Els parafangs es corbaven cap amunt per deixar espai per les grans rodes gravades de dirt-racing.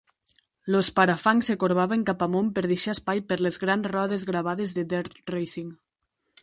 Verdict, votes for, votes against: rejected, 0, 2